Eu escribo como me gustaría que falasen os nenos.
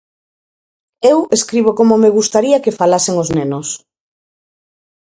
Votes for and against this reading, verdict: 4, 0, accepted